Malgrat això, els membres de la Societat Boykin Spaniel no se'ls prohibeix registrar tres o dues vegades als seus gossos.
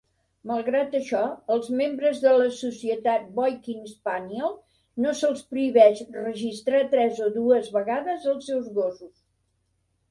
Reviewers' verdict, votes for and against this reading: accepted, 2, 0